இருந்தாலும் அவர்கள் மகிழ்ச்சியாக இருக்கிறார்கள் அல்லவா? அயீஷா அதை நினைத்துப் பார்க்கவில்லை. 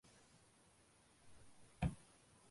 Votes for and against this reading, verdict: 0, 2, rejected